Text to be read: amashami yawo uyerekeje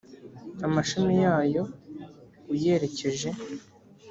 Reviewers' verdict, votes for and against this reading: rejected, 1, 2